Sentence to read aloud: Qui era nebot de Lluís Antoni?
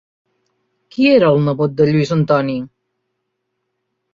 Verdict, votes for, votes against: rejected, 0, 2